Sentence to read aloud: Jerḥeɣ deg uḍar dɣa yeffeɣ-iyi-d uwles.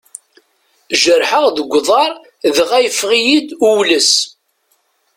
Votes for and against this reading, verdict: 2, 0, accepted